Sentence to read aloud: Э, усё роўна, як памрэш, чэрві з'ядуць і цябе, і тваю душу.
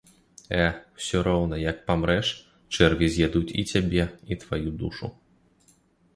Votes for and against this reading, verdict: 1, 2, rejected